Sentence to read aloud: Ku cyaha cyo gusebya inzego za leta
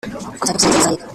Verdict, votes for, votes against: rejected, 0, 2